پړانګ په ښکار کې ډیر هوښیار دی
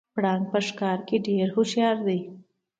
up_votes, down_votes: 2, 0